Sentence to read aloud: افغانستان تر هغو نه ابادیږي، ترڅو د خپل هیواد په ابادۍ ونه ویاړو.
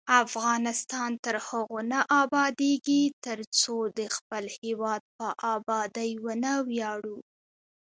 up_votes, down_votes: 1, 2